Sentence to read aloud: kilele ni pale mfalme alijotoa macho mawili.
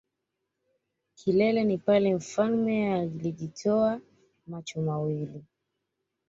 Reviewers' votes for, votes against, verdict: 2, 1, accepted